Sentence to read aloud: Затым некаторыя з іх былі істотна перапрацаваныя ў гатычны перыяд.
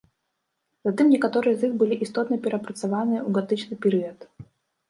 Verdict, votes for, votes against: rejected, 1, 2